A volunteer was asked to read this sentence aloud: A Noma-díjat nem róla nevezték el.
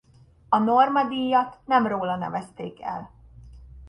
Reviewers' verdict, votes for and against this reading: rejected, 0, 2